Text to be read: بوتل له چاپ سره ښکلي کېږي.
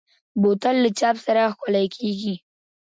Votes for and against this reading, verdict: 1, 2, rejected